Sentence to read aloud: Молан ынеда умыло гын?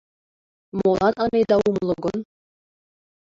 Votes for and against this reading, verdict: 1, 2, rejected